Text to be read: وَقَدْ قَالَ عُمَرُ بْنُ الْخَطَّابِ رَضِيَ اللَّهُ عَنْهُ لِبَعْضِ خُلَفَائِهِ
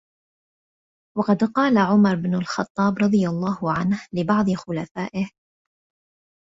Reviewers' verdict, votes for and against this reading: accepted, 3, 1